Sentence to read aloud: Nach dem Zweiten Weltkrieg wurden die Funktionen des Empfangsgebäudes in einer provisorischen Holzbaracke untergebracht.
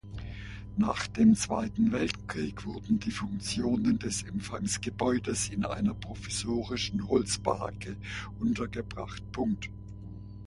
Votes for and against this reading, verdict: 1, 2, rejected